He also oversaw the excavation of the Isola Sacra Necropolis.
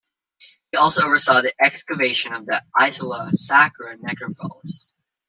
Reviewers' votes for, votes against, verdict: 0, 2, rejected